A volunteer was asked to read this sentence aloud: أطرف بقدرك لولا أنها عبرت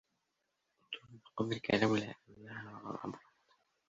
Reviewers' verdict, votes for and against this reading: rejected, 0, 2